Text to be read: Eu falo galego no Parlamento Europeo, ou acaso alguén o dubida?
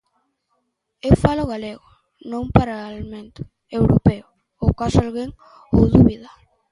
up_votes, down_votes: 0, 2